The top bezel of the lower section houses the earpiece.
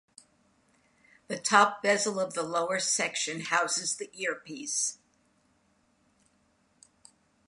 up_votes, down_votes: 2, 0